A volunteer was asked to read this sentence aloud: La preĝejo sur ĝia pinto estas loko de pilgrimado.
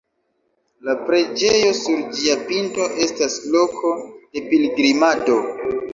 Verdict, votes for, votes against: rejected, 0, 2